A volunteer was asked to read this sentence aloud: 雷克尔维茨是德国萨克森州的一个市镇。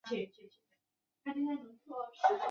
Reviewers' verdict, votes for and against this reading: rejected, 0, 3